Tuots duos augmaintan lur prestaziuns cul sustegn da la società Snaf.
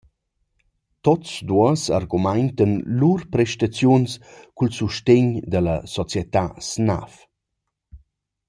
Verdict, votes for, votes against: rejected, 0, 2